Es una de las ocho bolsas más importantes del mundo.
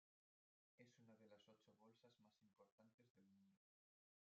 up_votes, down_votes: 0, 2